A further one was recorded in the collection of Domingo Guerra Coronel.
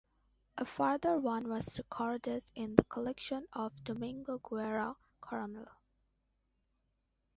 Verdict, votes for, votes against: accepted, 2, 1